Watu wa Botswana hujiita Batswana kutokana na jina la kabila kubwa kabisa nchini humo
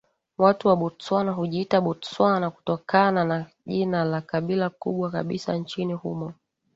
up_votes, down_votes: 2, 0